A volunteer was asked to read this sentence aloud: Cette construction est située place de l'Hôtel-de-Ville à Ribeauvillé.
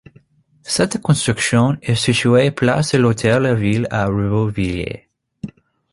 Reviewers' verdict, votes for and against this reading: rejected, 1, 2